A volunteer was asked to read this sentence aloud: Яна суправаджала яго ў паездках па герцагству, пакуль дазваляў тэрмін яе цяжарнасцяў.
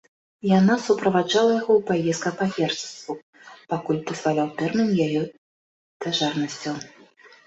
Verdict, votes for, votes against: rejected, 0, 2